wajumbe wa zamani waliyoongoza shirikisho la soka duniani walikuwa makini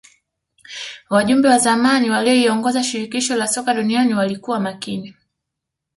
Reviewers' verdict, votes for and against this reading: accepted, 2, 0